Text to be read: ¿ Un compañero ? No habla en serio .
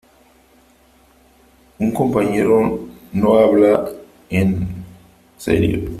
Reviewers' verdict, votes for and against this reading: rejected, 1, 3